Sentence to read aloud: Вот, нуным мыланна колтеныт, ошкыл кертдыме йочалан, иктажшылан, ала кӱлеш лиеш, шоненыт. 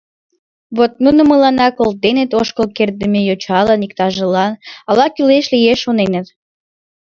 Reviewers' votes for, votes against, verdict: 1, 2, rejected